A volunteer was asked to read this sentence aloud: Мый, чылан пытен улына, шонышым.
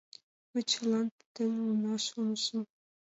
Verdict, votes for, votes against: rejected, 1, 2